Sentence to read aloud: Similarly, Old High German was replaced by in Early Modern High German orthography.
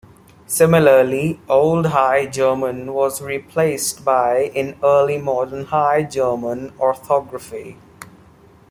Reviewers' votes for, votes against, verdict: 2, 0, accepted